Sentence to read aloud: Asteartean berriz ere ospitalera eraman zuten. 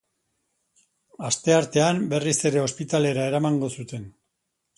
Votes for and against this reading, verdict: 0, 2, rejected